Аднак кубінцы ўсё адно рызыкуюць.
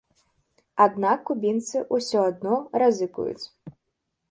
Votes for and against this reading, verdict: 0, 2, rejected